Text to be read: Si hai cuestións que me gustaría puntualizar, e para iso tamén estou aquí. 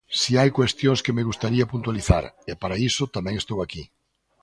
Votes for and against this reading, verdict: 3, 0, accepted